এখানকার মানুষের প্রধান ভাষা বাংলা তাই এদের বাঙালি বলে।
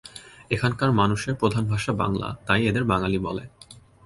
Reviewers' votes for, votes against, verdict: 2, 0, accepted